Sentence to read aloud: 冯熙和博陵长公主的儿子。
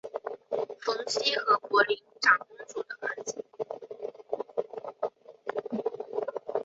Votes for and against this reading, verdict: 1, 3, rejected